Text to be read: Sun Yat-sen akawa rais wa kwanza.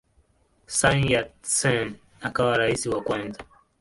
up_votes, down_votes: 3, 3